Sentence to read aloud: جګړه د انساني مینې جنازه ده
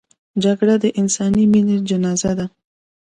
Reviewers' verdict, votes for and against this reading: accepted, 2, 0